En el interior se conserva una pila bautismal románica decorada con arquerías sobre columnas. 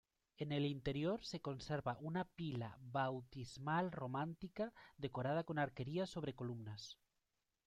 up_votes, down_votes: 0, 2